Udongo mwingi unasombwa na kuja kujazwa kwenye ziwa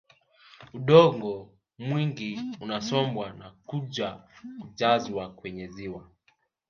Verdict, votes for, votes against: accepted, 2, 0